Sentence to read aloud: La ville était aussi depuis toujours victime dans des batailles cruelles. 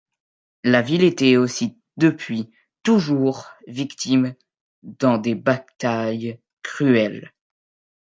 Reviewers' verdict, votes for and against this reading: accepted, 2, 1